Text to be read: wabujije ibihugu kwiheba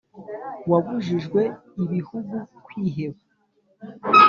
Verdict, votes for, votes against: rejected, 0, 2